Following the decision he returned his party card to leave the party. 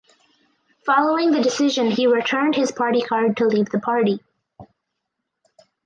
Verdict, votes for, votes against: accepted, 4, 2